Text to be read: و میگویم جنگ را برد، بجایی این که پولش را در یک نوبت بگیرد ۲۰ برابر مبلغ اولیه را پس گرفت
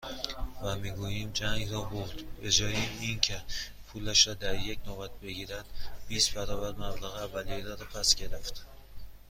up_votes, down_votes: 0, 2